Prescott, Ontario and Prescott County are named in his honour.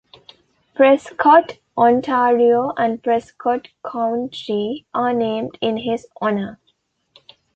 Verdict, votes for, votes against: accepted, 2, 1